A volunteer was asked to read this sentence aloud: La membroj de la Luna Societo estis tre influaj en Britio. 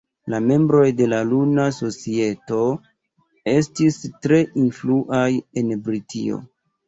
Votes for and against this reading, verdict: 1, 2, rejected